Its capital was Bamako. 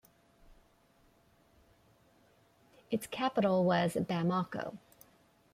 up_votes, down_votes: 2, 0